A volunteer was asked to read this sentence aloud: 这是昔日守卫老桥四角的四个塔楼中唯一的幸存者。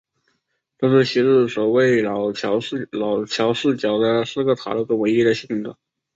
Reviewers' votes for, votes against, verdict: 2, 4, rejected